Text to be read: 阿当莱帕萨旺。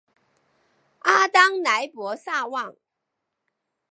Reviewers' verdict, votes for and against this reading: rejected, 1, 3